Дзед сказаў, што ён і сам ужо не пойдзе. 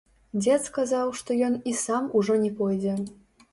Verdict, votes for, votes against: rejected, 0, 2